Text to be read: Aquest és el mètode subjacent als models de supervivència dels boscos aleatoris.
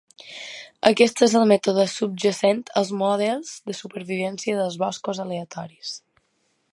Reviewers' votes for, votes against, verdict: 2, 0, accepted